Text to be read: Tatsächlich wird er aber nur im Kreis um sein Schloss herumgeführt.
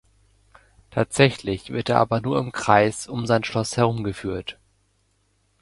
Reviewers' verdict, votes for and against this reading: accepted, 2, 0